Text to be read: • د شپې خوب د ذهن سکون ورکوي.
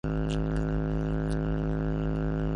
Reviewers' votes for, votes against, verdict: 0, 2, rejected